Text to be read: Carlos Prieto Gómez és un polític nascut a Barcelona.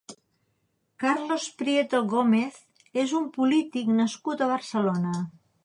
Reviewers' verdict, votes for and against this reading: accepted, 3, 0